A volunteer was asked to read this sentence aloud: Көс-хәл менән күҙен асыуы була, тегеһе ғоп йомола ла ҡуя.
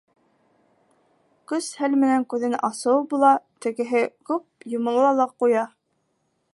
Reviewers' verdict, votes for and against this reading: rejected, 1, 2